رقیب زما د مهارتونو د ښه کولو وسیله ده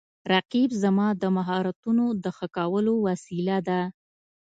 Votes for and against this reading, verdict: 2, 1, accepted